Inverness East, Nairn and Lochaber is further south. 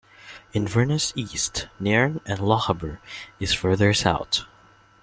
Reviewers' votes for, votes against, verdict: 1, 2, rejected